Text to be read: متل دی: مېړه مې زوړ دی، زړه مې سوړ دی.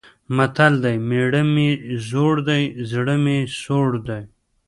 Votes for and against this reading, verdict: 1, 2, rejected